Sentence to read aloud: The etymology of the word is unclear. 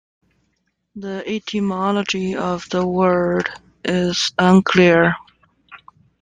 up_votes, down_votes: 2, 0